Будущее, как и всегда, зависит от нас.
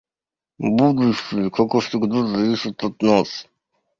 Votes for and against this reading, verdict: 1, 2, rejected